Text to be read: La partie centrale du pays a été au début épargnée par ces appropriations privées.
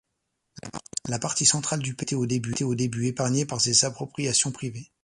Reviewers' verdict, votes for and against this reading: rejected, 1, 2